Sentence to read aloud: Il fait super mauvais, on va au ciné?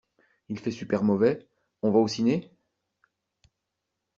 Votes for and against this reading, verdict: 2, 0, accepted